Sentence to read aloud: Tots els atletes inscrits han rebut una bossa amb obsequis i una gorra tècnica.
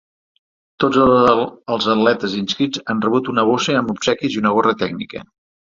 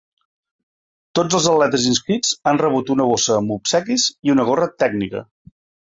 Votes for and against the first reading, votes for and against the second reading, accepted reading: 1, 2, 2, 0, second